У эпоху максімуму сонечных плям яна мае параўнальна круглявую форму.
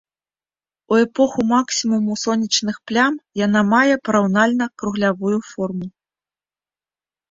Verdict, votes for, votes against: accepted, 2, 0